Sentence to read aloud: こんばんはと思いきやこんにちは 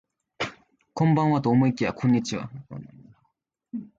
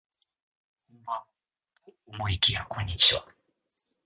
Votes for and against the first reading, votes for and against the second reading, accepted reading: 2, 0, 0, 2, first